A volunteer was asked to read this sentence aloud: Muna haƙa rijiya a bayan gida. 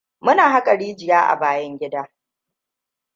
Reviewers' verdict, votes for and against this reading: rejected, 1, 2